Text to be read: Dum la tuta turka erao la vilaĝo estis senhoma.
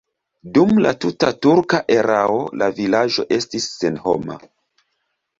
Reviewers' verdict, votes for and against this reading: rejected, 1, 2